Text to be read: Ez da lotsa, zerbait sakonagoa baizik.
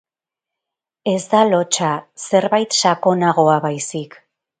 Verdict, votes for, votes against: accepted, 8, 0